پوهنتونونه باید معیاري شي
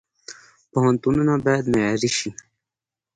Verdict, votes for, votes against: accepted, 2, 0